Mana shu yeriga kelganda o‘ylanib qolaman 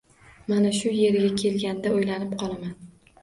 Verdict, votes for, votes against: accepted, 2, 0